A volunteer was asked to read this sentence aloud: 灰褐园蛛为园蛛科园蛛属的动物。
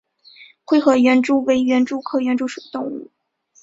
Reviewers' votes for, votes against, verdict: 2, 0, accepted